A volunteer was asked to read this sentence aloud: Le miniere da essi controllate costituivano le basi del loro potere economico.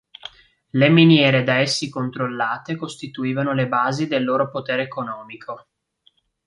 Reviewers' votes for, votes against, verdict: 2, 1, accepted